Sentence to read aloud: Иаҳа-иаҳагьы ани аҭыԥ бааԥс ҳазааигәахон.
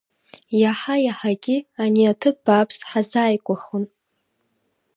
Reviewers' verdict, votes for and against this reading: accepted, 2, 0